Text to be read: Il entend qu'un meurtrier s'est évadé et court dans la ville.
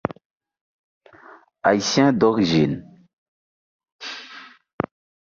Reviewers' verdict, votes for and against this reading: rejected, 0, 2